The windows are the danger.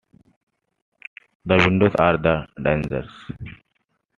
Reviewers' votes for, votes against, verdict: 2, 1, accepted